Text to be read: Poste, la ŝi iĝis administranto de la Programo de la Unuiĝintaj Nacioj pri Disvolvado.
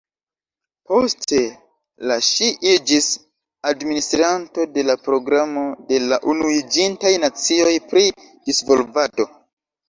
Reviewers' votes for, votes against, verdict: 1, 2, rejected